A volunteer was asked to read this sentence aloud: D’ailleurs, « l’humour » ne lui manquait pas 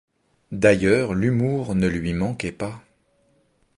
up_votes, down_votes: 2, 0